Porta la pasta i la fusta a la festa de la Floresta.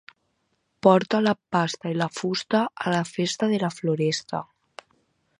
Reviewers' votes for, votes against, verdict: 2, 4, rejected